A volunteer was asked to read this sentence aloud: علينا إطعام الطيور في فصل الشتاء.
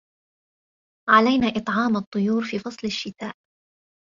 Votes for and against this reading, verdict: 2, 0, accepted